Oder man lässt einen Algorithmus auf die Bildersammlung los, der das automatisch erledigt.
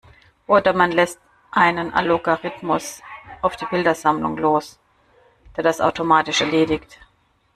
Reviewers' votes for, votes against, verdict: 0, 2, rejected